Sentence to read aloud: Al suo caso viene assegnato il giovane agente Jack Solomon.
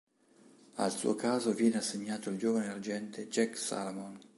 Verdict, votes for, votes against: rejected, 1, 2